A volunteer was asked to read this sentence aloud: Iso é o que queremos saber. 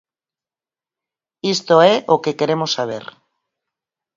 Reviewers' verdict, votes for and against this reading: rejected, 2, 4